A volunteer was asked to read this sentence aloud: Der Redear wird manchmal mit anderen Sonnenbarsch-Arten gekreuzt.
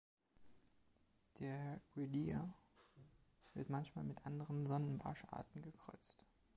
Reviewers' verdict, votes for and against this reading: accepted, 2, 0